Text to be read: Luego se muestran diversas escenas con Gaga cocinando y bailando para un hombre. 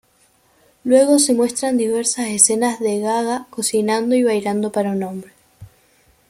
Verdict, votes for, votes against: rejected, 1, 2